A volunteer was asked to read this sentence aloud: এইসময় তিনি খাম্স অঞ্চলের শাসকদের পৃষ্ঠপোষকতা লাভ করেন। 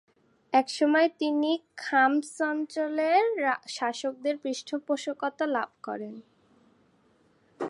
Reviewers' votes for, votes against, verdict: 0, 2, rejected